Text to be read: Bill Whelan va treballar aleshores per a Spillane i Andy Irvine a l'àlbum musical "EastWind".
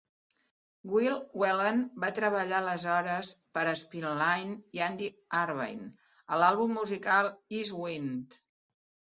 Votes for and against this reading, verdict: 2, 3, rejected